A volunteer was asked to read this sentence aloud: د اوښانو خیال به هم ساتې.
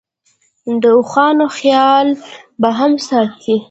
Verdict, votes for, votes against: rejected, 1, 2